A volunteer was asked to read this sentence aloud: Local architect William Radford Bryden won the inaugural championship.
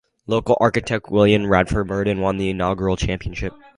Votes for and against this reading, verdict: 4, 2, accepted